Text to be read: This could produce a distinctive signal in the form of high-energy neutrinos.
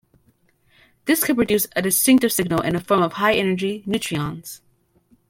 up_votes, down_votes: 1, 2